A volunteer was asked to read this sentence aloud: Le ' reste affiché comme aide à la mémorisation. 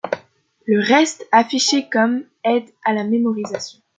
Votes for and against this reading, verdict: 1, 2, rejected